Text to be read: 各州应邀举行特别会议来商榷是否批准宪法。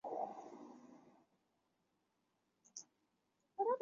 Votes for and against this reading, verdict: 0, 2, rejected